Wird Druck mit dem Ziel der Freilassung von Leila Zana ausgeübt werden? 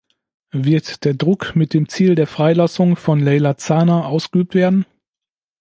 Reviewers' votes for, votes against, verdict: 0, 2, rejected